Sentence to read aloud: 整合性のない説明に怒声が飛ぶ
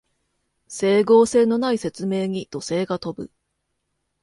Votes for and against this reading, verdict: 2, 0, accepted